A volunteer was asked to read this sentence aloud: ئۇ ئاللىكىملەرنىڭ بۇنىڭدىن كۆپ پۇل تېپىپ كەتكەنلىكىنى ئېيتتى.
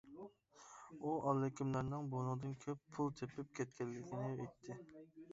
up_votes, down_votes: 2, 0